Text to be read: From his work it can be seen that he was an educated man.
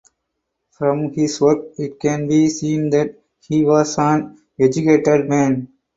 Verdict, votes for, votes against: accepted, 4, 0